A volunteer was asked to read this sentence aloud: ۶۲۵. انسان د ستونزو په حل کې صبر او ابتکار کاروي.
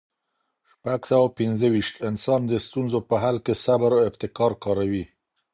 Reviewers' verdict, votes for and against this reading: rejected, 0, 2